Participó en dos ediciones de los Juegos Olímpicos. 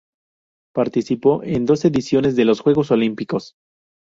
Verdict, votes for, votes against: accepted, 2, 0